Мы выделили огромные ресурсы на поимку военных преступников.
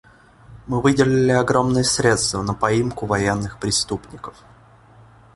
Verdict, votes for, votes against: rejected, 0, 2